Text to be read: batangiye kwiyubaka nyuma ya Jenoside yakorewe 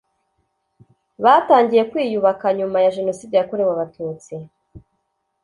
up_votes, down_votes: 0, 2